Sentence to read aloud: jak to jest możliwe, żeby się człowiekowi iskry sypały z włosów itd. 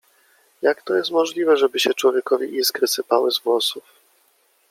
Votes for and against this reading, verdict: 2, 1, accepted